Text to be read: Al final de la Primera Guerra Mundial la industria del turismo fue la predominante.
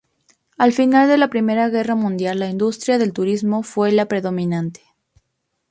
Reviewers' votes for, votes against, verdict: 2, 0, accepted